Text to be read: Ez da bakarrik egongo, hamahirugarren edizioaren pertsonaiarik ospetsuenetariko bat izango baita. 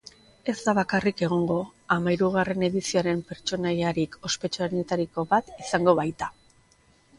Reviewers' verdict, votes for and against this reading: accepted, 4, 0